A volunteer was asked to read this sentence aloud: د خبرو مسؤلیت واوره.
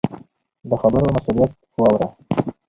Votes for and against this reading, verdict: 2, 2, rejected